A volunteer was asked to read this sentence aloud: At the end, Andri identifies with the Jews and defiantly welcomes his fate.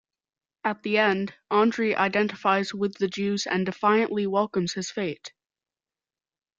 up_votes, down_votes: 2, 0